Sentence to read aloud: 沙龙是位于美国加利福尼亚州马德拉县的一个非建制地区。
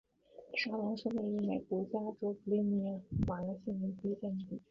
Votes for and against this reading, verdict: 1, 3, rejected